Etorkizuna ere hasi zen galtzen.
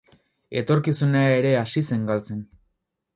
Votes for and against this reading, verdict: 8, 0, accepted